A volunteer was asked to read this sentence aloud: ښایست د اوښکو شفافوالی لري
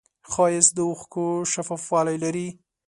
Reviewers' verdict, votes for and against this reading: accepted, 2, 0